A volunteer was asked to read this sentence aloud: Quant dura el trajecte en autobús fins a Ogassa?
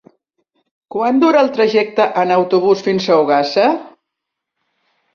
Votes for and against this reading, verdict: 3, 0, accepted